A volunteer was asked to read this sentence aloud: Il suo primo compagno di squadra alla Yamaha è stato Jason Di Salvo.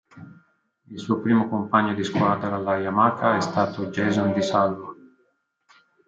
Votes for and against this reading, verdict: 1, 2, rejected